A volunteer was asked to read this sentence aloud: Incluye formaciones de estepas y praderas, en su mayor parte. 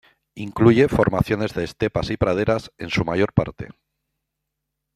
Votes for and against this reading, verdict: 1, 2, rejected